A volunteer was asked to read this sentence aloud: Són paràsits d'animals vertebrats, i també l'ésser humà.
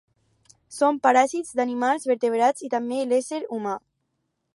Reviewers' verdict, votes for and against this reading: accepted, 4, 0